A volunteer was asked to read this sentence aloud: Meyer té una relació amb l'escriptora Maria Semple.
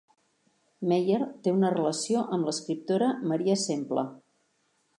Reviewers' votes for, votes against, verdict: 2, 0, accepted